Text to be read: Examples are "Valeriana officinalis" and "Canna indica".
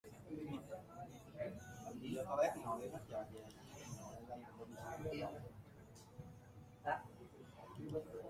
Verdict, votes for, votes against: rejected, 0, 2